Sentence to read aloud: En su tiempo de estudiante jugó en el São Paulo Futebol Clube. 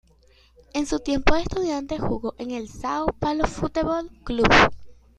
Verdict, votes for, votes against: rejected, 0, 2